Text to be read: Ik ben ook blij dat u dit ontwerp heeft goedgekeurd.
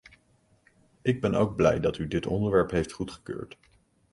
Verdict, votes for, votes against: rejected, 0, 2